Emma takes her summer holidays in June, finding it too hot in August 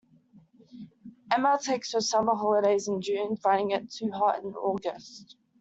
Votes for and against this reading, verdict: 2, 0, accepted